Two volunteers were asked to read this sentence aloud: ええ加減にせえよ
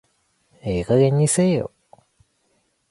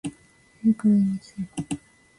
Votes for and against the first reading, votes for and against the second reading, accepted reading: 2, 0, 1, 2, first